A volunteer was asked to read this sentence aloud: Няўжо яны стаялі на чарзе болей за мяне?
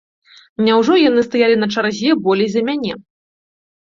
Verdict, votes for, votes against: accepted, 2, 0